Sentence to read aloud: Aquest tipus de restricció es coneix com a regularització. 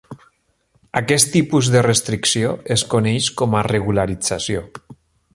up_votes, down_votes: 3, 0